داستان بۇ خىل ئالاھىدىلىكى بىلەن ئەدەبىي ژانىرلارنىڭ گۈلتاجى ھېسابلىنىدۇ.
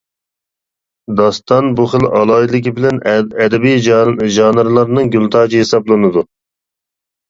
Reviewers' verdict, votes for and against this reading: rejected, 1, 2